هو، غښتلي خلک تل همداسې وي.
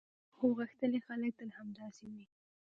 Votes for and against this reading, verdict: 2, 1, accepted